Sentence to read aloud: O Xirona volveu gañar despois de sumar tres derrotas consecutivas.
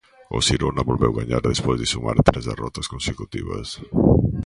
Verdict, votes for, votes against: accepted, 2, 0